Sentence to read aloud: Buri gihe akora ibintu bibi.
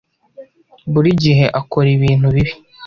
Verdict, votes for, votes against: accepted, 2, 0